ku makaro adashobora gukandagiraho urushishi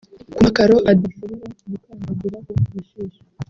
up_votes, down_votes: 1, 2